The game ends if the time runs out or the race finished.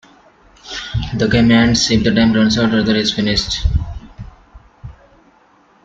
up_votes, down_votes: 0, 2